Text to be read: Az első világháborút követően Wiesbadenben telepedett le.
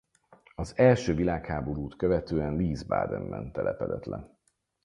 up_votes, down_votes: 4, 0